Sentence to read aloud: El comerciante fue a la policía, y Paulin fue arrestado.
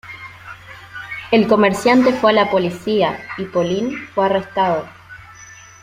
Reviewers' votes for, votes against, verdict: 2, 1, accepted